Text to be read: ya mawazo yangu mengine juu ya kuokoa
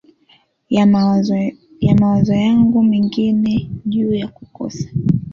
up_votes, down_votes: 0, 3